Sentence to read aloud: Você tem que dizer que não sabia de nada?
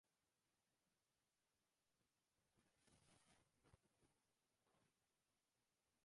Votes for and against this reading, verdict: 0, 2, rejected